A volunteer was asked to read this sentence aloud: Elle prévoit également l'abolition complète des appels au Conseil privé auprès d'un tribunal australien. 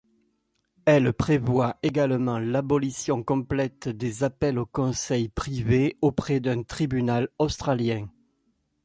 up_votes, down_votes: 0, 2